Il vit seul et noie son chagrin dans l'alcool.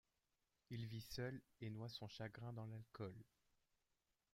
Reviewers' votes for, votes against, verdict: 0, 2, rejected